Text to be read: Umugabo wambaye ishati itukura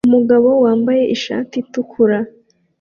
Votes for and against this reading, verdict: 2, 0, accepted